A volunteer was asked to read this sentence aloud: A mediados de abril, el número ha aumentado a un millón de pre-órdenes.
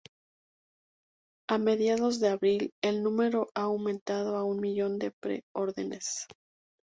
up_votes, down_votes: 2, 0